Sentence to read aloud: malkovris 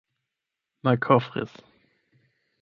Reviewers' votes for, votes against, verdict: 4, 8, rejected